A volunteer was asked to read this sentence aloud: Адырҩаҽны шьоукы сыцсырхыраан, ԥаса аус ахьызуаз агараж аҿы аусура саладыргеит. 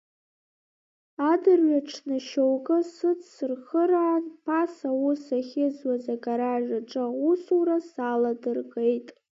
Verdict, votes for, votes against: rejected, 1, 2